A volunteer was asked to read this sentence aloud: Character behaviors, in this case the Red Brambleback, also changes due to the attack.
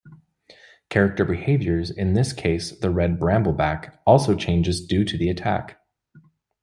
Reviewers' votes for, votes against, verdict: 2, 0, accepted